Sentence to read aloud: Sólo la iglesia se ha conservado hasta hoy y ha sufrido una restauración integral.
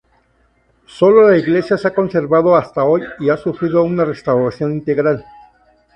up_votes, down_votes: 2, 0